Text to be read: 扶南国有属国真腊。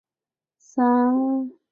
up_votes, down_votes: 0, 3